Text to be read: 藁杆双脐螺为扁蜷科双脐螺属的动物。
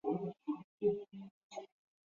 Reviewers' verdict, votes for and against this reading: rejected, 0, 2